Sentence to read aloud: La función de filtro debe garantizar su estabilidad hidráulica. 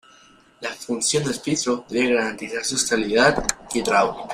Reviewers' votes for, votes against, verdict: 0, 2, rejected